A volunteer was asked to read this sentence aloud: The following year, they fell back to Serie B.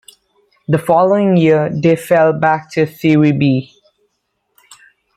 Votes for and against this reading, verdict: 2, 0, accepted